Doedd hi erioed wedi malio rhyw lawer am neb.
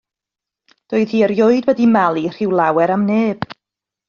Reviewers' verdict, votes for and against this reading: rejected, 0, 2